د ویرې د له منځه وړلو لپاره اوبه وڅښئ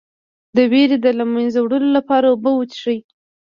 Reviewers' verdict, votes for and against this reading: rejected, 1, 2